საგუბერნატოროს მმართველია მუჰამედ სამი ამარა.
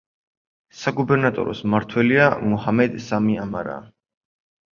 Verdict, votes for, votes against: accepted, 4, 0